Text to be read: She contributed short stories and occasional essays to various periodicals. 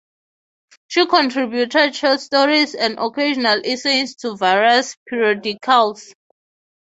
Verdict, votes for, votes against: rejected, 0, 3